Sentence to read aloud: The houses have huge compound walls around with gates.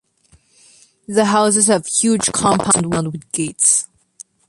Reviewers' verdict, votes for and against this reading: rejected, 0, 2